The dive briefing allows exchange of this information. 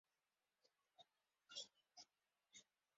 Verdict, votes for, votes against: rejected, 0, 4